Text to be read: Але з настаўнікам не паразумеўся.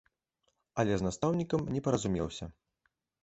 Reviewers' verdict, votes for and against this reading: accepted, 2, 0